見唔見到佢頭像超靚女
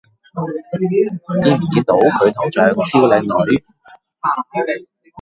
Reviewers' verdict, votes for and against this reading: rejected, 0, 2